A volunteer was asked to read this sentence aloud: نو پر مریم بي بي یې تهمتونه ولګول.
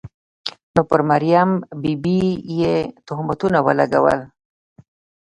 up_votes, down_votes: 1, 2